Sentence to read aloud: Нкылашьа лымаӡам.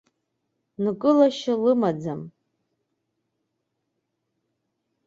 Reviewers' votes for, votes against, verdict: 2, 0, accepted